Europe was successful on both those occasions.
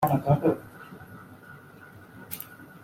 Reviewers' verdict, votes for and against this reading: rejected, 0, 2